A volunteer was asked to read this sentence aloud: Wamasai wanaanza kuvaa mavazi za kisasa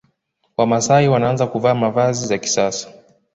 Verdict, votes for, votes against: accepted, 2, 0